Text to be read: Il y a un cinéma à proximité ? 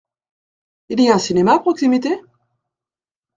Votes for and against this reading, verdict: 2, 0, accepted